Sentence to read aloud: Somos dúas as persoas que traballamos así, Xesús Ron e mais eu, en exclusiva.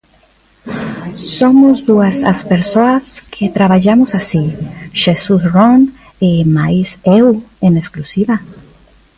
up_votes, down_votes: 1, 2